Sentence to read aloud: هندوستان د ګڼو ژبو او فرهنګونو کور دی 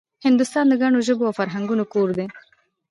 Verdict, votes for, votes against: accepted, 2, 0